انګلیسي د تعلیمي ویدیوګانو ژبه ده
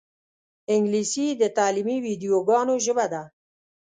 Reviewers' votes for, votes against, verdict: 2, 0, accepted